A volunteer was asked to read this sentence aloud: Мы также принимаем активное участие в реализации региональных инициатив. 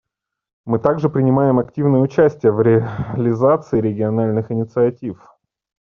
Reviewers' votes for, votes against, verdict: 1, 2, rejected